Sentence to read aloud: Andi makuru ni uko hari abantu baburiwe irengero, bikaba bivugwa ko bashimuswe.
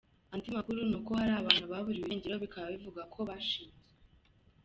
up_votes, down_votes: 2, 1